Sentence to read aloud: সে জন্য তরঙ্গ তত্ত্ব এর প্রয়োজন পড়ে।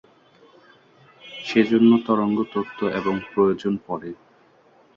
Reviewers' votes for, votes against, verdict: 0, 2, rejected